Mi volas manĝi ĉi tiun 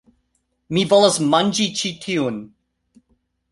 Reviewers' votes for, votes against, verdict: 2, 0, accepted